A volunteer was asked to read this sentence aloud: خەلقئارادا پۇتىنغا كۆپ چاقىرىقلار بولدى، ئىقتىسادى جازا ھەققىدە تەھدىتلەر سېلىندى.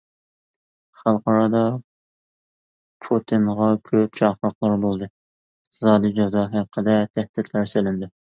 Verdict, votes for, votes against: rejected, 1, 2